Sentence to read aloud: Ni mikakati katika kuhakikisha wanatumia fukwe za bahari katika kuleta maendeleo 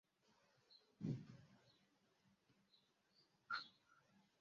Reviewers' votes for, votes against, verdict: 0, 2, rejected